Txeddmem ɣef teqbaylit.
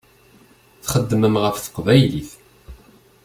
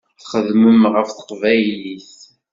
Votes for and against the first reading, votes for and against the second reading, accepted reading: 2, 0, 0, 2, first